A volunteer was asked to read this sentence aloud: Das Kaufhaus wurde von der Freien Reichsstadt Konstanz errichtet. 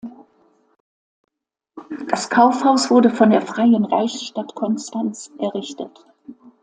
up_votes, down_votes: 2, 0